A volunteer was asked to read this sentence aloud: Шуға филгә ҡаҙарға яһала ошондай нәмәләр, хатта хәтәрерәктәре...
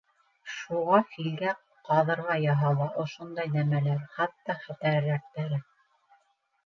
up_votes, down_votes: 1, 2